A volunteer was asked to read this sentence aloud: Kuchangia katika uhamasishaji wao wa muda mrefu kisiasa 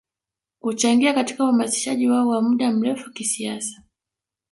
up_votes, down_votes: 1, 2